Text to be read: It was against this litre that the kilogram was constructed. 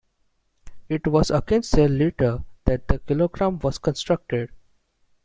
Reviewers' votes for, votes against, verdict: 2, 1, accepted